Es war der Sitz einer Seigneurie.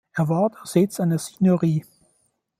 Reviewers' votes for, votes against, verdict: 1, 2, rejected